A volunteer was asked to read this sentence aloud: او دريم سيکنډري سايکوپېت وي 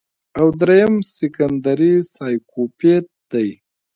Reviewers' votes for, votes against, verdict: 0, 2, rejected